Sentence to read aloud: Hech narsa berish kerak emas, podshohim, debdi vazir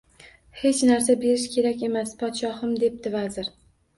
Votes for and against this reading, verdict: 2, 0, accepted